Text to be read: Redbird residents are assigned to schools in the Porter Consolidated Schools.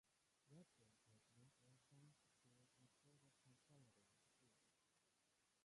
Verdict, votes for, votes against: rejected, 0, 2